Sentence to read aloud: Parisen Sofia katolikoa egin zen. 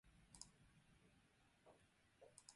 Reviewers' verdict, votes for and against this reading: rejected, 0, 4